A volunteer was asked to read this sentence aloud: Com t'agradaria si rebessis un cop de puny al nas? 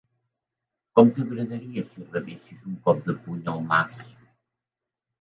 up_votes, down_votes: 4, 3